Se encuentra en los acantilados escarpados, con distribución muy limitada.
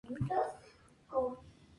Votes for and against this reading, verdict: 0, 2, rejected